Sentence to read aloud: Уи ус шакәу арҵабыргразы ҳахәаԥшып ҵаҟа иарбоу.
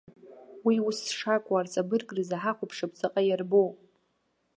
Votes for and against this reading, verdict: 2, 0, accepted